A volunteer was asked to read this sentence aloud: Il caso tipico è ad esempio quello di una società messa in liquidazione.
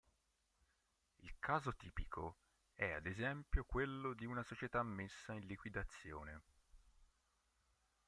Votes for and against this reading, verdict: 1, 2, rejected